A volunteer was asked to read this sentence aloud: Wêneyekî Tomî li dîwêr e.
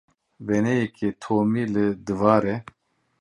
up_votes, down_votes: 0, 2